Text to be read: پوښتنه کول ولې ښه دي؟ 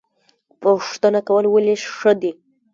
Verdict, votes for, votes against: rejected, 1, 2